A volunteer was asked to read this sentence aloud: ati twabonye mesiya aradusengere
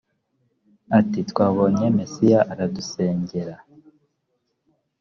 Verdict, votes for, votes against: rejected, 1, 2